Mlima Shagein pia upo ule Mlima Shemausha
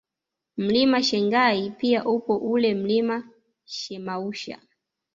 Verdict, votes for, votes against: rejected, 1, 2